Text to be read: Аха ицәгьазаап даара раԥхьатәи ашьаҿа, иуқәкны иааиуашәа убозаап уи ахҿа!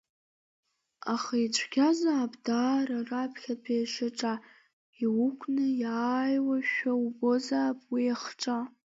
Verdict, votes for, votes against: rejected, 0, 2